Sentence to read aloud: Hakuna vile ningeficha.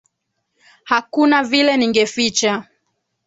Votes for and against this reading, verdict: 2, 1, accepted